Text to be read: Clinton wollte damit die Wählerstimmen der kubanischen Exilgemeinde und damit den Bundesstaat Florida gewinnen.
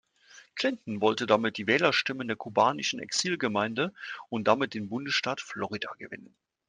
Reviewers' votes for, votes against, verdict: 2, 0, accepted